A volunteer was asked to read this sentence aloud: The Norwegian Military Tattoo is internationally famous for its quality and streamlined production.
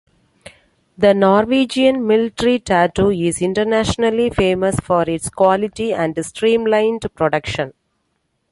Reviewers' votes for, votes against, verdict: 2, 0, accepted